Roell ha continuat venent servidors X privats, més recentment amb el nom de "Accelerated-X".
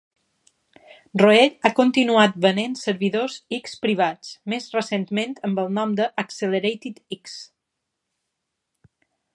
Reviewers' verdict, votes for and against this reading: accepted, 2, 0